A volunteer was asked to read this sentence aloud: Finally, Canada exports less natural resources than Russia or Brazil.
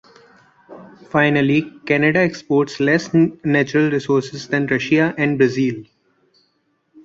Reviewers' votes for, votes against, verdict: 0, 2, rejected